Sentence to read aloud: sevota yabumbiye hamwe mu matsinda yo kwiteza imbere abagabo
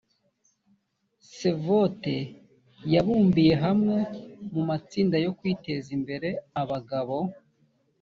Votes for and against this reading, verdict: 2, 1, accepted